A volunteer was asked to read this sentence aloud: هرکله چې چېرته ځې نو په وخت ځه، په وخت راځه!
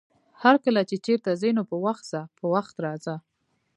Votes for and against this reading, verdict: 0, 2, rejected